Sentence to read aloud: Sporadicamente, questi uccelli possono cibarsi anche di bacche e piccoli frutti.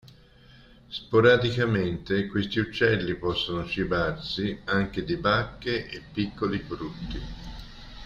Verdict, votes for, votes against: accepted, 2, 0